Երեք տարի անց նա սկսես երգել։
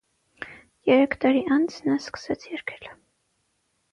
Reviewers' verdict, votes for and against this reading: accepted, 6, 0